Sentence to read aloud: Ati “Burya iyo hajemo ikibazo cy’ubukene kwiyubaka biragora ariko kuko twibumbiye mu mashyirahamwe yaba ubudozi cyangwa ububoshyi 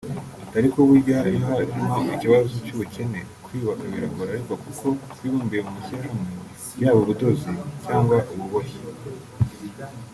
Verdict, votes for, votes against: rejected, 0, 2